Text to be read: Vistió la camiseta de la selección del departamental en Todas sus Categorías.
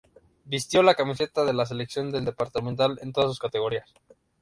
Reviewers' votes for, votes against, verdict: 0, 2, rejected